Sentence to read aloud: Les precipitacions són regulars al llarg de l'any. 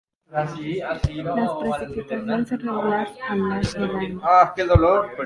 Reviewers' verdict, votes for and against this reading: rejected, 0, 3